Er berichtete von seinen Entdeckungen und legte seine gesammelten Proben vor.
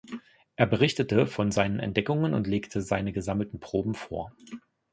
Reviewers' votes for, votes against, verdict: 2, 0, accepted